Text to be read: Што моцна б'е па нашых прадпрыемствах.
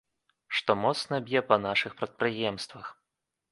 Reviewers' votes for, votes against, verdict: 2, 0, accepted